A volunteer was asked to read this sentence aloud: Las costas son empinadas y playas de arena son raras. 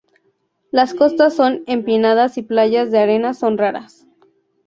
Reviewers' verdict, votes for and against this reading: accepted, 2, 0